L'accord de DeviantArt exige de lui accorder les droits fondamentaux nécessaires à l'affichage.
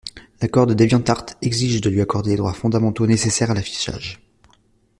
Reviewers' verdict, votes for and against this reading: accepted, 2, 0